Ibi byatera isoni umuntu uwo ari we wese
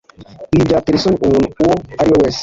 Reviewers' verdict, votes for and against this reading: rejected, 1, 2